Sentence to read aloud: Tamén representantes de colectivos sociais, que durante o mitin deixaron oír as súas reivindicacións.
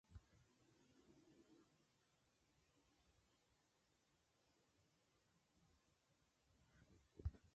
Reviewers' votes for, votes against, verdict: 0, 2, rejected